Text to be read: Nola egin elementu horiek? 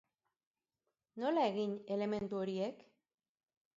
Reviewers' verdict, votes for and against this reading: accepted, 2, 0